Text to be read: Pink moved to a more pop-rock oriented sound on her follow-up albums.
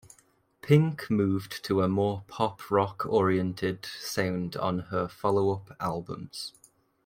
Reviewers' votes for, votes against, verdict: 1, 2, rejected